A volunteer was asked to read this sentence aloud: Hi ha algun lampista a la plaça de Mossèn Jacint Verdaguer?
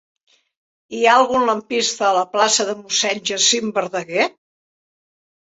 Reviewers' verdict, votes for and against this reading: accepted, 3, 2